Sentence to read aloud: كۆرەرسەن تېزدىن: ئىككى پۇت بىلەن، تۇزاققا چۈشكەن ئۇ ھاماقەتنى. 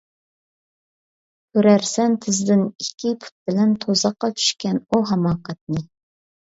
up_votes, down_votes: 2, 0